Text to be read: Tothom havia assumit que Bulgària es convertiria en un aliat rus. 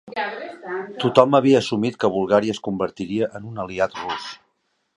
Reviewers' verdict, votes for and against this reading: rejected, 0, 2